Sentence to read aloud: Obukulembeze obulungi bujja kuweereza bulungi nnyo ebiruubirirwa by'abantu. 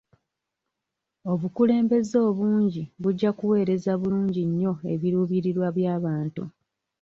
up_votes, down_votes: 1, 2